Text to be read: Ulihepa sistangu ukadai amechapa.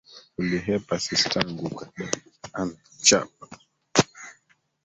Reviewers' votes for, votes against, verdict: 1, 2, rejected